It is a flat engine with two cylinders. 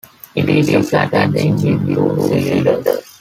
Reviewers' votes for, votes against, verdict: 0, 3, rejected